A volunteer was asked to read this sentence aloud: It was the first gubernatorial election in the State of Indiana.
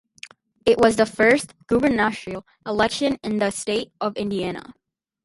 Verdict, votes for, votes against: rejected, 2, 4